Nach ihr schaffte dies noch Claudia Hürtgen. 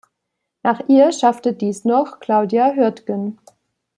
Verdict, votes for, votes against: accepted, 2, 0